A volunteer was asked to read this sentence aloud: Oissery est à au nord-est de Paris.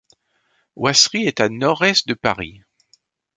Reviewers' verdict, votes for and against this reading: rejected, 1, 2